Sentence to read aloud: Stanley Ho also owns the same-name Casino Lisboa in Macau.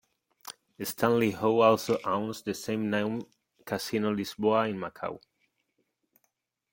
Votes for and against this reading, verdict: 2, 0, accepted